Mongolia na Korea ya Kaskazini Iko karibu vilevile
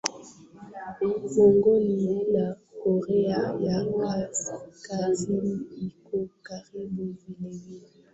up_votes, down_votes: 0, 3